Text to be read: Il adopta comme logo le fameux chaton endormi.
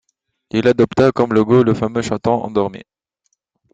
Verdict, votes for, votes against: accepted, 2, 0